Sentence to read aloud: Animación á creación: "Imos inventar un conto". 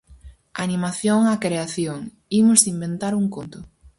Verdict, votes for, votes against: rejected, 2, 2